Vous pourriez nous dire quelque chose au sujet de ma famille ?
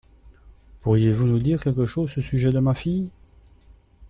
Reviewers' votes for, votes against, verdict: 0, 2, rejected